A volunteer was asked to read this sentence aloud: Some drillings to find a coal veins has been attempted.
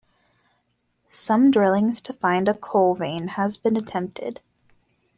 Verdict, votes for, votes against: accepted, 2, 1